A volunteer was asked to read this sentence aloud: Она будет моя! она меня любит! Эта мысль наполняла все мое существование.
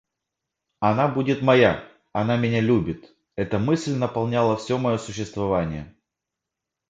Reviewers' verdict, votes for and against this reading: accepted, 2, 0